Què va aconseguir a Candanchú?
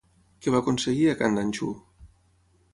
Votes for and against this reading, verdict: 6, 0, accepted